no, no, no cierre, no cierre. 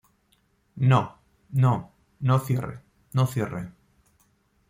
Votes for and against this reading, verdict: 2, 0, accepted